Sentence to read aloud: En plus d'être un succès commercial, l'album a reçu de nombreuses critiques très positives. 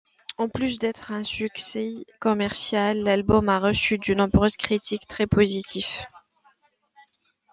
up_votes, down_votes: 0, 2